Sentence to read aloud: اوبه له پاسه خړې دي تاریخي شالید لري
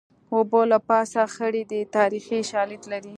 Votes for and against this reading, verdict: 2, 0, accepted